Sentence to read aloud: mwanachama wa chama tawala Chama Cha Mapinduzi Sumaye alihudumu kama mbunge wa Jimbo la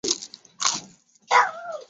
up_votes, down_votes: 2, 13